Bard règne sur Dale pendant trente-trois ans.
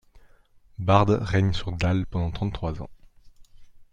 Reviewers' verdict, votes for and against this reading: accepted, 2, 0